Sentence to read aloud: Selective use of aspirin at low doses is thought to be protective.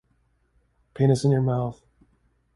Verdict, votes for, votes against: rejected, 0, 2